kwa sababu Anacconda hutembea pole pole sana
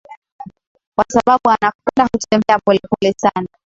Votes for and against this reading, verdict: 6, 3, accepted